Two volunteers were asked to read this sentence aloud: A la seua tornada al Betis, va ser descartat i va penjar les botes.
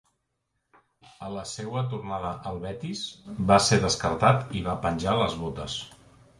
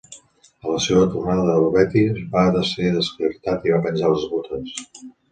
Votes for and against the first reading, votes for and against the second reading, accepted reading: 3, 1, 1, 2, first